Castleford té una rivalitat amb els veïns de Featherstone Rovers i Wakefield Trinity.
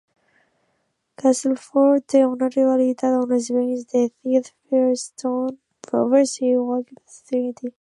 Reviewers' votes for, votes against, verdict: 1, 2, rejected